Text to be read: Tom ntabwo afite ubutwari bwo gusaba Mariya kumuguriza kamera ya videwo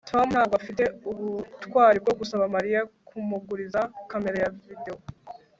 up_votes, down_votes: 2, 0